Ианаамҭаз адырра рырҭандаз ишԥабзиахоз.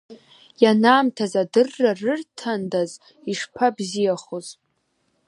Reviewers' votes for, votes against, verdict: 2, 1, accepted